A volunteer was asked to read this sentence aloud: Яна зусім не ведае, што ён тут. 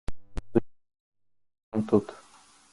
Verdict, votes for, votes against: rejected, 0, 2